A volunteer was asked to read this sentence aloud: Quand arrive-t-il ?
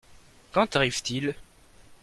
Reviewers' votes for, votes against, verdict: 2, 1, accepted